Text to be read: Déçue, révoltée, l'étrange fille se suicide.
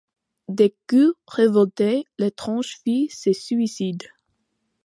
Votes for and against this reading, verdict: 2, 0, accepted